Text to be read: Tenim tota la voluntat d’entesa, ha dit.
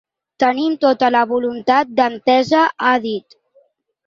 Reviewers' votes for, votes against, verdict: 2, 0, accepted